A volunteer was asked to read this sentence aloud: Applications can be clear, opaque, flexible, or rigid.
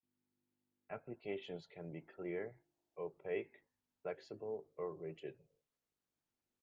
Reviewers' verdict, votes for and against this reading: rejected, 0, 2